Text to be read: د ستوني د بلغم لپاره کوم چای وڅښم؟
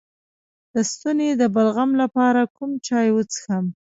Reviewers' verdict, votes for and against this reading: rejected, 0, 2